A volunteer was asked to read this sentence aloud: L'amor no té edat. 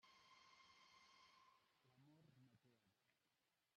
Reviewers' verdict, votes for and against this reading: rejected, 1, 2